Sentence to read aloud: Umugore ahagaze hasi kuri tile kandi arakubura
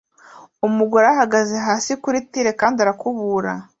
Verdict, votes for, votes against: accepted, 3, 0